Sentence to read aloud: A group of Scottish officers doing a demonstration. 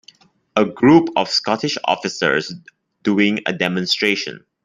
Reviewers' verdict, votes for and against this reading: accepted, 2, 0